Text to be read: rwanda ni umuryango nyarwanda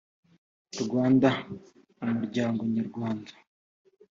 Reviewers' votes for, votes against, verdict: 3, 0, accepted